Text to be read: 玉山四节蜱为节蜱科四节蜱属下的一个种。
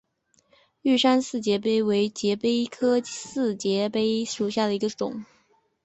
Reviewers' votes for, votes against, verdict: 2, 1, accepted